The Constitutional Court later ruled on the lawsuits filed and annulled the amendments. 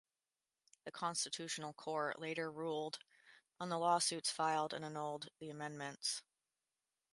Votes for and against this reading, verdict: 2, 0, accepted